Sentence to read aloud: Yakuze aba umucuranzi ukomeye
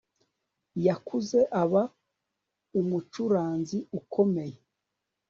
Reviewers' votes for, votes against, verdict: 2, 0, accepted